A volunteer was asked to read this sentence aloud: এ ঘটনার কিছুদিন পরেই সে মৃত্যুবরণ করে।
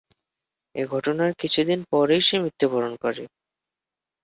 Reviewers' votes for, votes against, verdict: 3, 0, accepted